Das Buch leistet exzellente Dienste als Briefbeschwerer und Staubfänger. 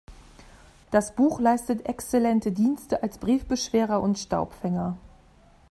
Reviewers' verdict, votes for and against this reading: accepted, 2, 0